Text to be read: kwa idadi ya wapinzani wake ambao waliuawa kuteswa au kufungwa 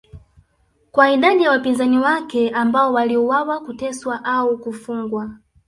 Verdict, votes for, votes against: accepted, 2, 0